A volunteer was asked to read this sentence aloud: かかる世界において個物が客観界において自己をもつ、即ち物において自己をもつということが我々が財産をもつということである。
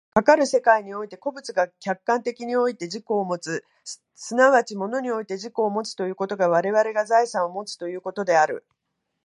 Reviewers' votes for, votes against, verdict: 2, 0, accepted